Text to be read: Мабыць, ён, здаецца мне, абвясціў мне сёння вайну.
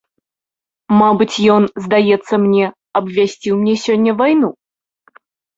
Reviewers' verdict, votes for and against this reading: accepted, 2, 0